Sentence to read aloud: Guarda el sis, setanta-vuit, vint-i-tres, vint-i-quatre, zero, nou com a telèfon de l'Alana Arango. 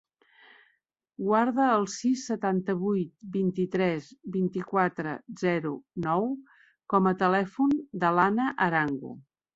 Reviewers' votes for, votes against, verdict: 1, 2, rejected